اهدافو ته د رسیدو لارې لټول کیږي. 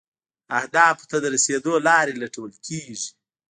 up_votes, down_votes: 2, 0